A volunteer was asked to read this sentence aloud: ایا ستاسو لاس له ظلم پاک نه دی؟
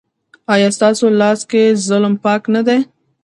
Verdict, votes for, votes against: rejected, 0, 2